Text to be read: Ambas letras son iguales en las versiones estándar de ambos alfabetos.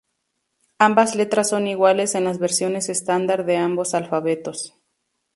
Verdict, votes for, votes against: accepted, 2, 0